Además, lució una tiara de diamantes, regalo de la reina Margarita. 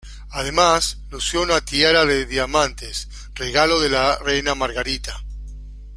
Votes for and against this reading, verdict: 2, 0, accepted